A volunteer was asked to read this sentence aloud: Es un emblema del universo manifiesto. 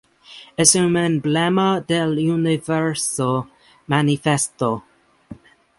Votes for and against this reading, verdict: 0, 2, rejected